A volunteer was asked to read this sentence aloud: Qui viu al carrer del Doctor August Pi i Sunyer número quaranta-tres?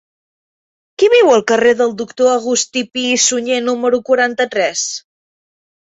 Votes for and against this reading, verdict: 2, 1, accepted